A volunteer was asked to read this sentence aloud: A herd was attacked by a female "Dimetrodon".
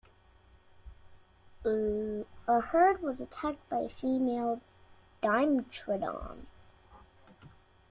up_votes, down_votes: 0, 2